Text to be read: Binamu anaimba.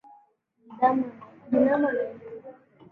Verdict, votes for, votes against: rejected, 0, 2